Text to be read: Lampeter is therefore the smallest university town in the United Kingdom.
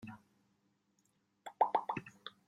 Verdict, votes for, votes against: rejected, 0, 2